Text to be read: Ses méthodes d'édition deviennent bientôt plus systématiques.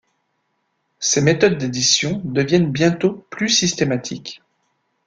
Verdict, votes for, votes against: accepted, 2, 0